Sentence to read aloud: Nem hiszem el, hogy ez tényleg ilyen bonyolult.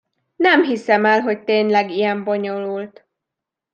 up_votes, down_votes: 0, 2